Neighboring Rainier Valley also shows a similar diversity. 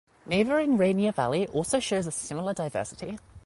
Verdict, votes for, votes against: accepted, 2, 0